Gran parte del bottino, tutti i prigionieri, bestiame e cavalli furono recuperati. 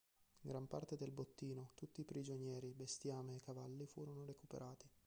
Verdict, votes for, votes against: rejected, 0, 2